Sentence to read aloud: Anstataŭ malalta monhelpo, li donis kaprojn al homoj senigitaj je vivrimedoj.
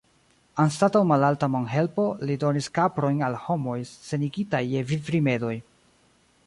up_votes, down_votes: 1, 2